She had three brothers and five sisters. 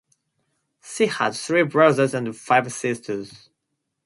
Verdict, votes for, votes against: rejected, 0, 2